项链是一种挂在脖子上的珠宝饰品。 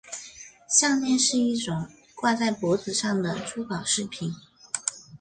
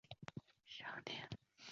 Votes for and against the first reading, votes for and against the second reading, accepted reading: 3, 0, 1, 4, first